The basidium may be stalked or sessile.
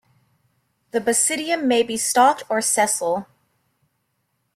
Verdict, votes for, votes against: accepted, 2, 0